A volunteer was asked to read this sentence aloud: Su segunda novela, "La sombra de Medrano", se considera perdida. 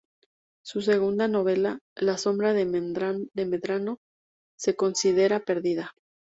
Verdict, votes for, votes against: rejected, 0, 2